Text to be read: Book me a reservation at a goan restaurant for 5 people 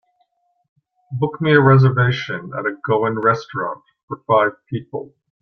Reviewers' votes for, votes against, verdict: 0, 2, rejected